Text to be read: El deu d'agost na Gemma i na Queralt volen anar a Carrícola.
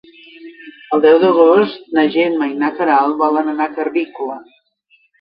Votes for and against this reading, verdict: 2, 0, accepted